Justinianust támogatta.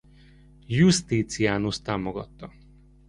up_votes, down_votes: 1, 2